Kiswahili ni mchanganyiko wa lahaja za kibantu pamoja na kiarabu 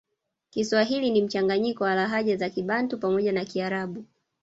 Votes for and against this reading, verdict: 1, 2, rejected